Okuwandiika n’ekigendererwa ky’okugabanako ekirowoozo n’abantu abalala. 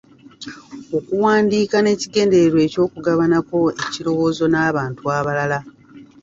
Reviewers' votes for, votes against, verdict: 2, 0, accepted